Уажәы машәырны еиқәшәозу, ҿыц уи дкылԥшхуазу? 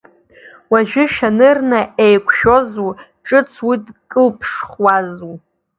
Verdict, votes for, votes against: rejected, 0, 2